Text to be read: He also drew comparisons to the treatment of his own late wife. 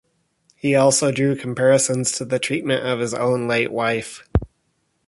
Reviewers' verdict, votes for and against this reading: accepted, 2, 0